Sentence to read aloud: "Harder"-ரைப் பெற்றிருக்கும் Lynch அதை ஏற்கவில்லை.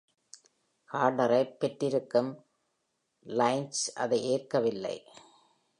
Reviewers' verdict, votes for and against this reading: accepted, 2, 0